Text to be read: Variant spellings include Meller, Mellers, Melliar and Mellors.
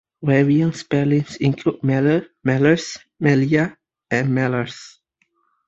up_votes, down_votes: 3, 0